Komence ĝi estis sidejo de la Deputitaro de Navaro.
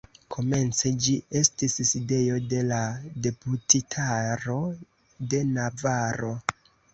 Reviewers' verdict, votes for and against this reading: accepted, 2, 0